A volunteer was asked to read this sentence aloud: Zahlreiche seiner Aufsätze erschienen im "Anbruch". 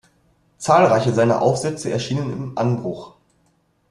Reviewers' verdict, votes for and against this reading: accepted, 2, 0